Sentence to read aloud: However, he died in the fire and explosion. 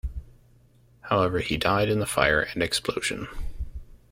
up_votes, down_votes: 2, 0